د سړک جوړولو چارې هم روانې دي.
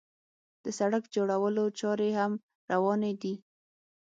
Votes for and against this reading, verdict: 6, 0, accepted